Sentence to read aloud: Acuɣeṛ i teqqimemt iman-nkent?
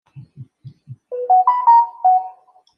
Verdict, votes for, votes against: rejected, 0, 2